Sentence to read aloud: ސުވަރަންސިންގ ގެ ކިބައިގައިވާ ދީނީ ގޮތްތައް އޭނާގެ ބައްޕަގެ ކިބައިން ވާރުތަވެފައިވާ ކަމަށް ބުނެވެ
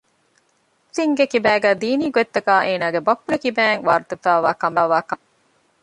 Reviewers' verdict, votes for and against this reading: rejected, 0, 2